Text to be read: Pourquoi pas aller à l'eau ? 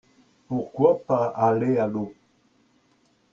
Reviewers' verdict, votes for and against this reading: accepted, 2, 1